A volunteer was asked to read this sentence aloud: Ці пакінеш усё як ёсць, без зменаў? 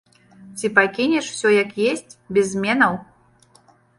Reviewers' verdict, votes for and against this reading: rejected, 1, 3